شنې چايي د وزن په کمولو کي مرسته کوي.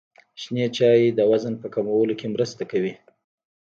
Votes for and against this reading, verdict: 1, 2, rejected